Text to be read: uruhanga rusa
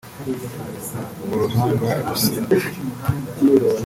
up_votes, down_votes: 0, 2